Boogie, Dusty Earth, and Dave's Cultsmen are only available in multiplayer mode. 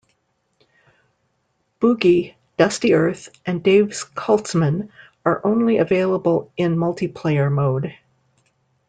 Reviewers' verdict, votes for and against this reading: accepted, 2, 0